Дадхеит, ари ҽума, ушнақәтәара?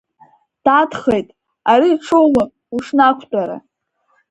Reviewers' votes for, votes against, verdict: 3, 0, accepted